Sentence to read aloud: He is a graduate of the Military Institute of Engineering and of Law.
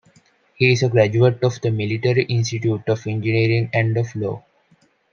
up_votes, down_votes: 2, 1